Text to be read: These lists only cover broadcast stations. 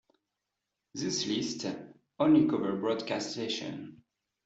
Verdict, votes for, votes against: rejected, 1, 2